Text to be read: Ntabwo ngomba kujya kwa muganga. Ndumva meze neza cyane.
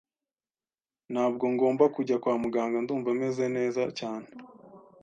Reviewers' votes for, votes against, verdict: 2, 0, accepted